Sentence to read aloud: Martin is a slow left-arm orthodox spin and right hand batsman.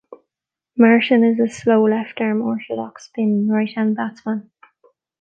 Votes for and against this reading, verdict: 0, 2, rejected